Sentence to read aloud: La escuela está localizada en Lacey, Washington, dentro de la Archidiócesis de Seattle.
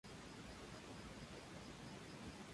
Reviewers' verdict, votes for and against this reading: rejected, 0, 2